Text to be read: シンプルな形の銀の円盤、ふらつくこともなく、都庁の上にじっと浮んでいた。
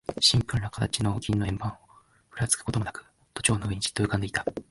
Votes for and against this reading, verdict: 1, 2, rejected